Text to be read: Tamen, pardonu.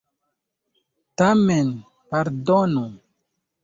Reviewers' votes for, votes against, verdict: 2, 0, accepted